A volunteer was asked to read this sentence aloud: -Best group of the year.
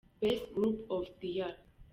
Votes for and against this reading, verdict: 2, 0, accepted